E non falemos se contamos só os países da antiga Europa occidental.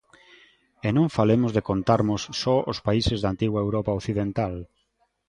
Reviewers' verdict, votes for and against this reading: rejected, 0, 3